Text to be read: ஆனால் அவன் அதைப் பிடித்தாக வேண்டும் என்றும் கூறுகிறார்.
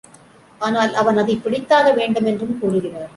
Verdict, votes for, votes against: accepted, 2, 0